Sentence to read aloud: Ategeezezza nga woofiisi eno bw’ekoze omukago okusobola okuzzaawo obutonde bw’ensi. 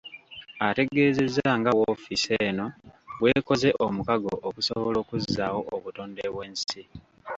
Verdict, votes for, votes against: rejected, 1, 2